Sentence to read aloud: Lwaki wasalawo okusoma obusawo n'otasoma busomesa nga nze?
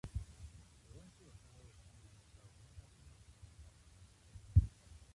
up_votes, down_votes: 0, 2